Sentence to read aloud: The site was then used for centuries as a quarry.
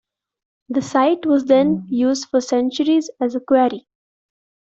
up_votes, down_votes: 2, 0